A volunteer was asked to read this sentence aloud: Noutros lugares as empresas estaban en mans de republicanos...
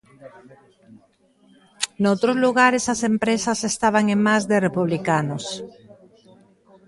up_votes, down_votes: 0, 2